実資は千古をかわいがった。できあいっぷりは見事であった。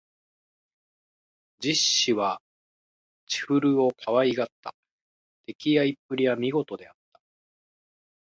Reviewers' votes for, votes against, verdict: 1, 2, rejected